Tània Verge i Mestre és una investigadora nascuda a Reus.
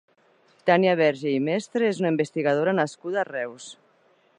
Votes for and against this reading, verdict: 3, 0, accepted